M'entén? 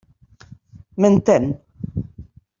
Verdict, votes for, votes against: accepted, 3, 0